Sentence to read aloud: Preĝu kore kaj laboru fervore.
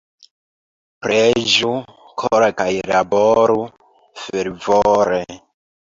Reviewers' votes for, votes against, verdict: 2, 0, accepted